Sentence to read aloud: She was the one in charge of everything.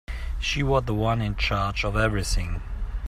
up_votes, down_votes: 2, 1